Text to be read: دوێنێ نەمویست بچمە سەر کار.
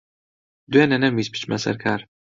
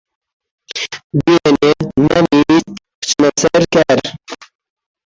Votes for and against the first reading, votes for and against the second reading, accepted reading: 2, 0, 1, 2, first